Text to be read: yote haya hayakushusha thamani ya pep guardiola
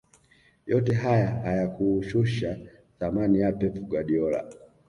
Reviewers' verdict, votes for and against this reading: accepted, 2, 1